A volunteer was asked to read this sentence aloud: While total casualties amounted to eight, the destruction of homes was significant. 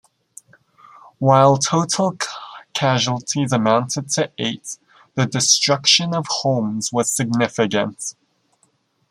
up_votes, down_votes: 1, 2